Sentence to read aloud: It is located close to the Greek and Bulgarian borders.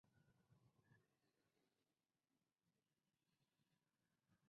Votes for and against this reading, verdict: 0, 2, rejected